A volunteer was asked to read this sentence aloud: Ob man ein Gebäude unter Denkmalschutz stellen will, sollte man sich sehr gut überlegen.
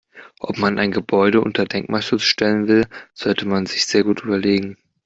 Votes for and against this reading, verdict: 2, 0, accepted